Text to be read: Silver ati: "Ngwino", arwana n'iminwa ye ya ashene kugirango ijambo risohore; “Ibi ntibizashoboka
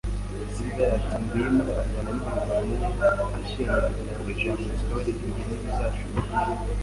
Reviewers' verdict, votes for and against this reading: rejected, 1, 2